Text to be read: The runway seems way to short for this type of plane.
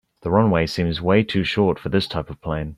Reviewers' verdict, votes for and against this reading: accepted, 4, 0